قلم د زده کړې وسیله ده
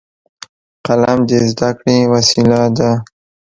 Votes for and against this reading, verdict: 2, 0, accepted